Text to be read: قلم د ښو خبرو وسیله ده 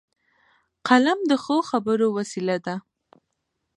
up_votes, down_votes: 0, 2